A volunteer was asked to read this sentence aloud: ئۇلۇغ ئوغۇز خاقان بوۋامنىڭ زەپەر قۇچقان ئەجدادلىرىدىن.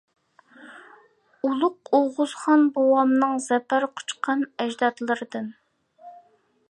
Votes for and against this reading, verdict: 0, 2, rejected